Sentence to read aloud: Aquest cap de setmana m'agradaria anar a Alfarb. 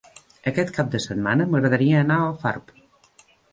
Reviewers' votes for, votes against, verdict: 2, 0, accepted